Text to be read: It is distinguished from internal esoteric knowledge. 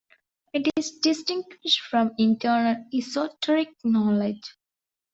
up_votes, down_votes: 0, 2